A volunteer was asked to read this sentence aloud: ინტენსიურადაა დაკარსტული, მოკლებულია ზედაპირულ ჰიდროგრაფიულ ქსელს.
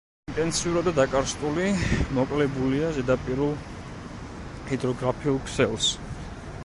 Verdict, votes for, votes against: rejected, 1, 2